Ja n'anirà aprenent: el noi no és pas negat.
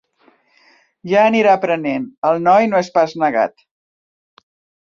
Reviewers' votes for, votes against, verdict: 1, 3, rejected